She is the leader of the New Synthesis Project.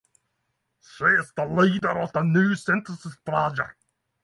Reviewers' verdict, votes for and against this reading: accepted, 6, 0